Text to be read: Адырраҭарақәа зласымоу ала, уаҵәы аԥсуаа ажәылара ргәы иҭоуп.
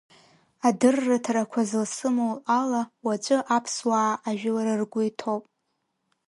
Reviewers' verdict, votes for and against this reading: rejected, 0, 2